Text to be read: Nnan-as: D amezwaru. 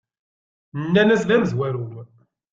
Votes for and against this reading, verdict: 2, 0, accepted